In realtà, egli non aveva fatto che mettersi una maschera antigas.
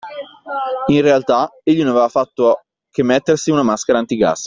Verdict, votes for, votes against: accepted, 2, 0